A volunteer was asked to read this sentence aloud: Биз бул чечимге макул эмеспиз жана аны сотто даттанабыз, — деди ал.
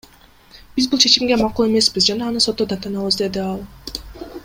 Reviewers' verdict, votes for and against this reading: accepted, 2, 1